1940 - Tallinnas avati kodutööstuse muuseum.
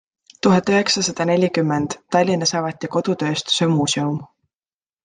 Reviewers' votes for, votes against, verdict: 0, 2, rejected